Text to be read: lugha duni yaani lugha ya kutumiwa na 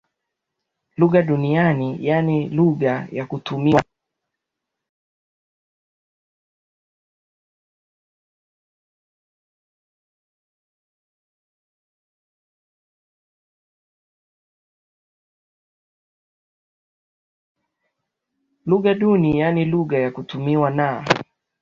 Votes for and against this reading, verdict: 0, 2, rejected